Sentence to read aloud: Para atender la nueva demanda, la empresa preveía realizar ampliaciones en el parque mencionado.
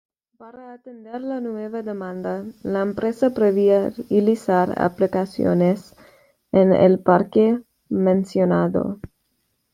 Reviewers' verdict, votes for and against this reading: rejected, 1, 2